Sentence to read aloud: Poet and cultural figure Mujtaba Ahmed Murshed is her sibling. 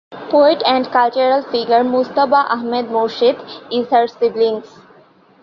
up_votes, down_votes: 2, 1